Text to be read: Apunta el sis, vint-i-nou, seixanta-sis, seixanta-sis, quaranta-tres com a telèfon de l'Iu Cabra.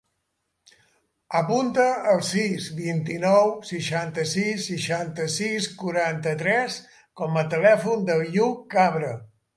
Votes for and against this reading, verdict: 3, 1, accepted